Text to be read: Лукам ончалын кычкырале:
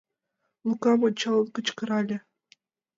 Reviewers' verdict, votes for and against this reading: rejected, 1, 2